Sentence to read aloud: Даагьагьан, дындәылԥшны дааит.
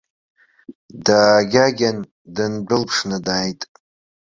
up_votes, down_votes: 0, 2